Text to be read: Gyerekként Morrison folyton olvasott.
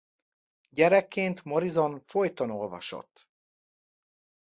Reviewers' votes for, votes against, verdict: 2, 0, accepted